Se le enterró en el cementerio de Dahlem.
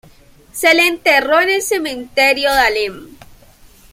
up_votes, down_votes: 1, 2